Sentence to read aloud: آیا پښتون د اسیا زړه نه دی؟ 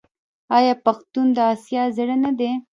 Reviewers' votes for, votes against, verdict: 1, 2, rejected